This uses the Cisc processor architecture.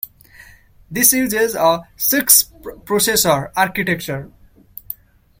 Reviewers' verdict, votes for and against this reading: accepted, 2, 1